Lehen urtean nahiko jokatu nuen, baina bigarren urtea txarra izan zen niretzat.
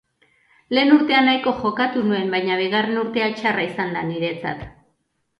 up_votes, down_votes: 0, 3